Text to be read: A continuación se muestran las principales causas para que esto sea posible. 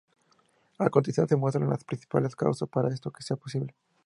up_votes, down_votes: 2, 0